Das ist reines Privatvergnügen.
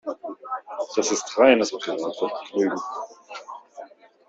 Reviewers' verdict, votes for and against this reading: rejected, 0, 2